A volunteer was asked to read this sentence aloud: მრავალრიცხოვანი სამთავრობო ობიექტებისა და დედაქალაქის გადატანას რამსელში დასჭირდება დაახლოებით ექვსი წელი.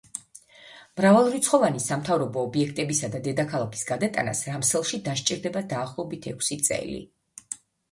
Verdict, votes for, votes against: accepted, 2, 0